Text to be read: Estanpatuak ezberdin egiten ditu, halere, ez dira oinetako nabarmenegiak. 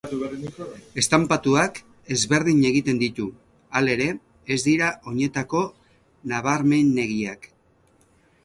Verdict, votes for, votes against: accepted, 4, 0